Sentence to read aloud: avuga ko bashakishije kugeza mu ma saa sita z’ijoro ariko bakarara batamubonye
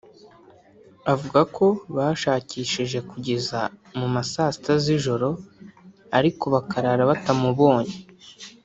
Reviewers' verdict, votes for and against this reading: rejected, 1, 2